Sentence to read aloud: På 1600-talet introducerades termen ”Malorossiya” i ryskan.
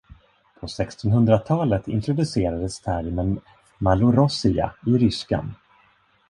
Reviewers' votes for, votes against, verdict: 0, 2, rejected